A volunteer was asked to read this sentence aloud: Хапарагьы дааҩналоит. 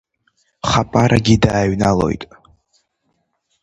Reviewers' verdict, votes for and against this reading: rejected, 2, 3